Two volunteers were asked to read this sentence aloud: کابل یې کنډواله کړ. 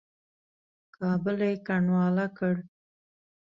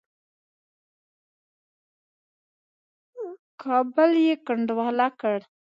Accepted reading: first